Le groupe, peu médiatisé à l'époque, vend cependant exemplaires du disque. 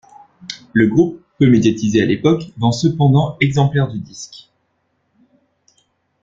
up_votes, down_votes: 1, 2